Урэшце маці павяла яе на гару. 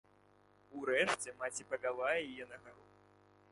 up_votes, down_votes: 0, 2